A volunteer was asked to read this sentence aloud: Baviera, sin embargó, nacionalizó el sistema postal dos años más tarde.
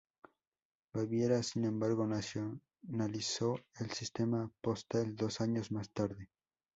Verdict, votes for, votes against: rejected, 2, 2